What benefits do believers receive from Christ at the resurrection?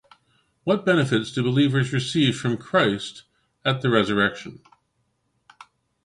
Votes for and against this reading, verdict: 2, 0, accepted